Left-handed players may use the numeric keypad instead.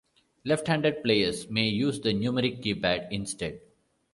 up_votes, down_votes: 2, 0